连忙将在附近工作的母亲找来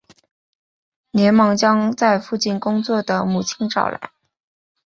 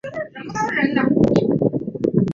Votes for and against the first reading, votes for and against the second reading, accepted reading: 2, 0, 2, 5, first